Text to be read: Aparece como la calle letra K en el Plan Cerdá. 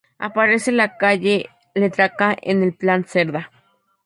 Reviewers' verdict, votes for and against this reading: rejected, 0, 2